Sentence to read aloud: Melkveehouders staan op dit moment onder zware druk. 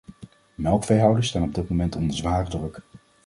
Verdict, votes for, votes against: accepted, 2, 0